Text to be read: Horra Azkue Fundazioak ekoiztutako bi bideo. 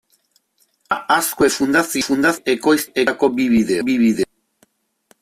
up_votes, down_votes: 0, 2